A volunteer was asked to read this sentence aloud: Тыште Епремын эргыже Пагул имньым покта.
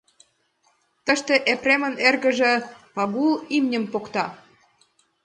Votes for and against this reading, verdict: 1, 2, rejected